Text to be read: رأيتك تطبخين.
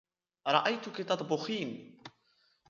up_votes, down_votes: 2, 0